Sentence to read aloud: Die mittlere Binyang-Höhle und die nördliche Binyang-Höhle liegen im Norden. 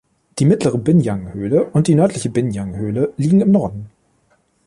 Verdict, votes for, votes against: accepted, 2, 0